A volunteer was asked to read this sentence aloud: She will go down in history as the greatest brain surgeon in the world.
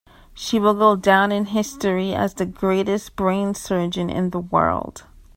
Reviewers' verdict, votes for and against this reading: accepted, 3, 0